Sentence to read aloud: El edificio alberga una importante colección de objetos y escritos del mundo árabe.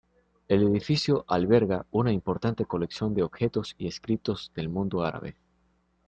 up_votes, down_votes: 2, 0